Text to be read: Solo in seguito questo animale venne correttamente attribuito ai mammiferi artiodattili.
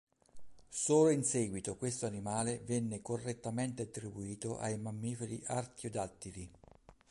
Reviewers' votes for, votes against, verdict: 2, 1, accepted